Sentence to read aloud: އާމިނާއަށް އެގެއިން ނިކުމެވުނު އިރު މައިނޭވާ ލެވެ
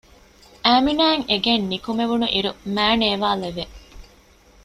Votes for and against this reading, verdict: 2, 0, accepted